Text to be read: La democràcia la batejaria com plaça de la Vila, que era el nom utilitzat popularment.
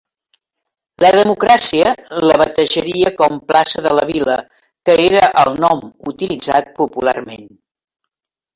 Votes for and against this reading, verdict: 3, 1, accepted